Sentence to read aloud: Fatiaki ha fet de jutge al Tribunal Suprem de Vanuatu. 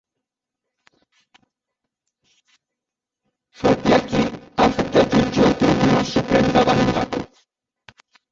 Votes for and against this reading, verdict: 0, 2, rejected